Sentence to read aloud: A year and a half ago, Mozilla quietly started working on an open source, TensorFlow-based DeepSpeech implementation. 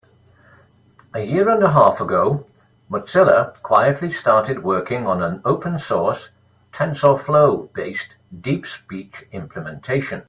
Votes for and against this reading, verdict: 3, 0, accepted